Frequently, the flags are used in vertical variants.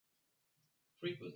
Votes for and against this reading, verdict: 0, 2, rejected